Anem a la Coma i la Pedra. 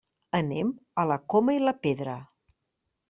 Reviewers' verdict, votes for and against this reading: accepted, 3, 0